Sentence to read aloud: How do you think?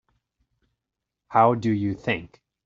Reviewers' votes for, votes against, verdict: 2, 0, accepted